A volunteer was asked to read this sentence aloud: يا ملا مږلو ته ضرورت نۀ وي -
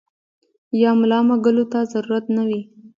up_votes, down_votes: 2, 1